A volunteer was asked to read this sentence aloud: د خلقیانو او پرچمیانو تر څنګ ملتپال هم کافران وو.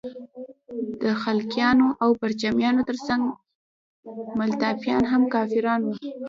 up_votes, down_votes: 0, 2